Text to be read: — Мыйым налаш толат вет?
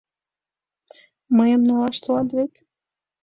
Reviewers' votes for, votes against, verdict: 2, 0, accepted